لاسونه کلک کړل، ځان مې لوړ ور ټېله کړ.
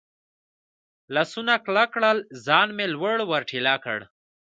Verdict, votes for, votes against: accepted, 2, 1